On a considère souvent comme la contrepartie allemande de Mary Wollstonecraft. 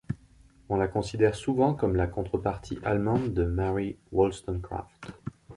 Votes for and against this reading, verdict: 1, 2, rejected